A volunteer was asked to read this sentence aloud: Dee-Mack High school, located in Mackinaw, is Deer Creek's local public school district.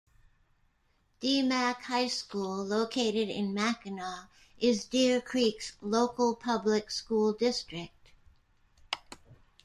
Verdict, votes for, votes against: accepted, 2, 0